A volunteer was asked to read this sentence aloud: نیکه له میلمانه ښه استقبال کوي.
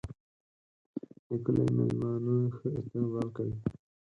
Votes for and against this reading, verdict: 2, 4, rejected